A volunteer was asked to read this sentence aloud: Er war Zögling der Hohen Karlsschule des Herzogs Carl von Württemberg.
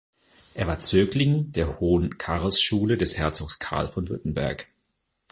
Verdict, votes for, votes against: accepted, 2, 0